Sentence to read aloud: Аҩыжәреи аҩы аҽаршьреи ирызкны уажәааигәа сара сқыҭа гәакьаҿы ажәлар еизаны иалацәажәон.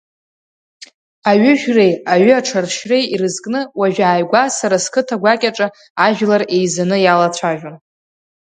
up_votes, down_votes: 2, 0